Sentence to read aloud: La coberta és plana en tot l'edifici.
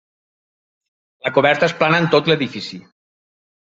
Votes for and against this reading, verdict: 3, 0, accepted